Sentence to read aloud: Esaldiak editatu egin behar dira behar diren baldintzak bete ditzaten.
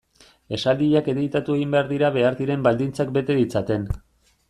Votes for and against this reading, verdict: 2, 0, accepted